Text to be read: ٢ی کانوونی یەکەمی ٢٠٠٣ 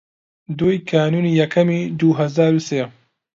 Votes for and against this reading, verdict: 0, 2, rejected